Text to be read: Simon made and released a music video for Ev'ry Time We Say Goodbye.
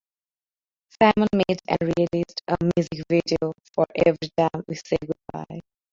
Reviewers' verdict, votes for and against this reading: accepted, 2, 0